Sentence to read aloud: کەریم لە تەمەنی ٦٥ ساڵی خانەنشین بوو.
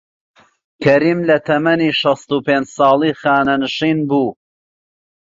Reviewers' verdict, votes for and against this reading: rejected, 0, 2